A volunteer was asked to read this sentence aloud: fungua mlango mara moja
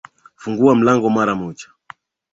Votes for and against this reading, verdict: 3, 0, accepted